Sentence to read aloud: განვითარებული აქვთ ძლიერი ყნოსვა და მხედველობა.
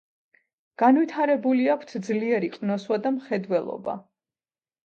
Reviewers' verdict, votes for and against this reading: accepted, 2, 0